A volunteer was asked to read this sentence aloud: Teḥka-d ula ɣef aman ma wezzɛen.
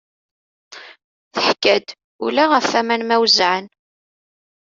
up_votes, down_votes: 1, 2